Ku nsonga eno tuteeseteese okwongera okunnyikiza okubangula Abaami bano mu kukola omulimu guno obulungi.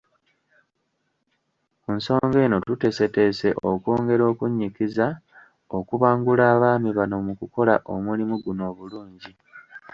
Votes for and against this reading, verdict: 0, 2, rejected